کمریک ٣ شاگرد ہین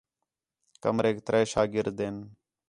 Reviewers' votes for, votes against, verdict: 0, 2, rejected